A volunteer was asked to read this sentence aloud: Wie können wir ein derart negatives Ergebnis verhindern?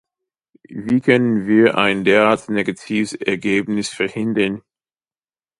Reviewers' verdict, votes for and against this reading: rejected, 0, 2